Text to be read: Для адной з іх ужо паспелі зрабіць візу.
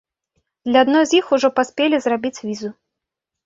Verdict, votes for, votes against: accepted, 2, 0